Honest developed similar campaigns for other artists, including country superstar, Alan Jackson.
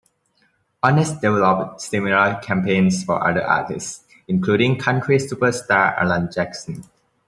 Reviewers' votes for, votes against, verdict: 2, 1, accepted